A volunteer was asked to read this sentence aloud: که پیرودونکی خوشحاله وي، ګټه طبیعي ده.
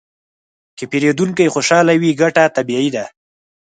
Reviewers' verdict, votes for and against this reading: accepted, 4, 0